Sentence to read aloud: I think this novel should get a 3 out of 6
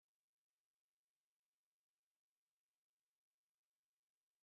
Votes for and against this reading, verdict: 0, 2, rejected